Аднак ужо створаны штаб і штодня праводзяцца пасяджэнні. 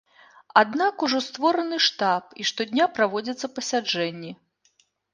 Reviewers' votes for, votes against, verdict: 2, 0, accepted